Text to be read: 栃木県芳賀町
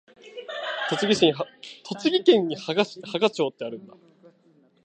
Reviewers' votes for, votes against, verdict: 1, 2, rejected